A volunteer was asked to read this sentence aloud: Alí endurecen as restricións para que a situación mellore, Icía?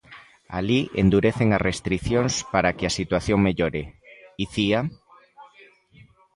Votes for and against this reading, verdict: 2, 0, accepted